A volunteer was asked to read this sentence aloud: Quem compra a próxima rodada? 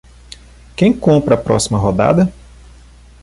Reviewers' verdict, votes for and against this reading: accepted, 2, 0